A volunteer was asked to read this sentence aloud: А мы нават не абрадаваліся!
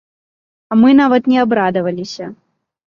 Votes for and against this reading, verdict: 2, 0, accepted